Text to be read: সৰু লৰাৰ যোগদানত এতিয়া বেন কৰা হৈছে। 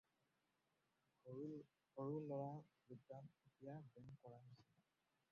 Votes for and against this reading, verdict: 0, 4, rejected